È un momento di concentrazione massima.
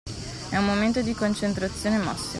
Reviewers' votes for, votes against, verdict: 1, 2, rejected